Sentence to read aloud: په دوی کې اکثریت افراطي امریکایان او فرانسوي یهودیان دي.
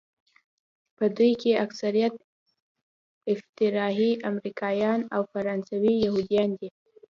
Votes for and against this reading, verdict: 1, 2, rejected